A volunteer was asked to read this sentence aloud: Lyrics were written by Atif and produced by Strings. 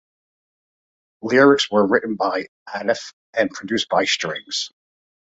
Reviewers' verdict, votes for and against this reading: accepted, 2, 0